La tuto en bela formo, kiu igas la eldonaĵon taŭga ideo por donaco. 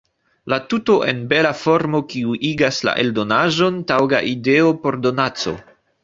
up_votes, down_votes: 2, 1